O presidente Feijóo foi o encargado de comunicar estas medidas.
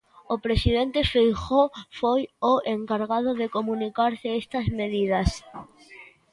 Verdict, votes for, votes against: rejected, 0, 2